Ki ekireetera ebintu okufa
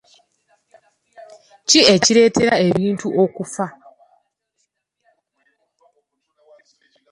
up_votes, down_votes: 2, 0